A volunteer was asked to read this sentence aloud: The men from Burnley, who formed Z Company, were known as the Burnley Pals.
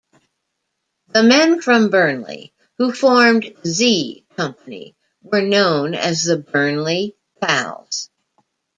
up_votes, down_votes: 0, 2